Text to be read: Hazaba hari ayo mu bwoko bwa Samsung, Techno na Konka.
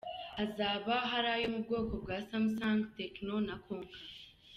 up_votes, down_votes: 2, 0